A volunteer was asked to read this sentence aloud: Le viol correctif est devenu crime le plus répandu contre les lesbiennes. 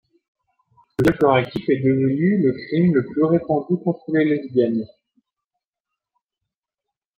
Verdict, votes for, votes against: rejected, 0, 2